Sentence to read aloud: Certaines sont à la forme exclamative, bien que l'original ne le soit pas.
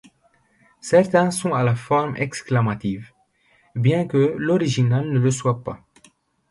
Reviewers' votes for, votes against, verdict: 1, 2, rejected